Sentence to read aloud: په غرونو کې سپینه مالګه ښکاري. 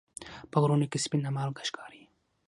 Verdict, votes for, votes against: accepted, 6, 0